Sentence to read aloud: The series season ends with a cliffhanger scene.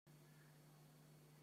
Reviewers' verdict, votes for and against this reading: rejected, 0, 3